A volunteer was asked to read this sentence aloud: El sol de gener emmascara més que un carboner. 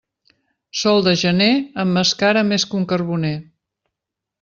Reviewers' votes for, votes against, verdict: 1, 2, rejected